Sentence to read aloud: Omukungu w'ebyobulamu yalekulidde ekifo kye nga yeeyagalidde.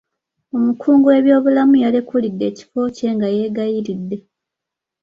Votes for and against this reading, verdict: 1, 2, rejected